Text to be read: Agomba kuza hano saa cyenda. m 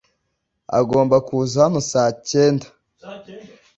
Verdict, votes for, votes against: accepted, 2, 0